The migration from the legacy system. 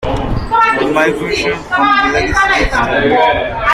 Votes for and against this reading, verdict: 0, 2, rejected